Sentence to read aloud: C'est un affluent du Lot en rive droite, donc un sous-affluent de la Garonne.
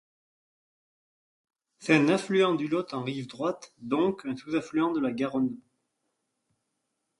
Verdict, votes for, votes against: accepted, 2, 0